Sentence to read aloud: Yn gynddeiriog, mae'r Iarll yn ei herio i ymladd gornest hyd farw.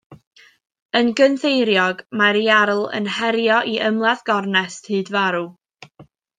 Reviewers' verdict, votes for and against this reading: accepted, 2, 1